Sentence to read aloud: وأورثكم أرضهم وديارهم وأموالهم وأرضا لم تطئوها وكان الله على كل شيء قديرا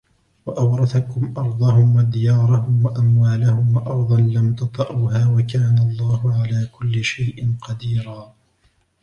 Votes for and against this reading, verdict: 2, 1, accepted